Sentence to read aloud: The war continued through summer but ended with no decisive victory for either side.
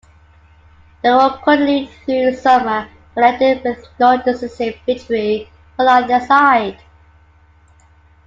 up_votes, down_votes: 0, 3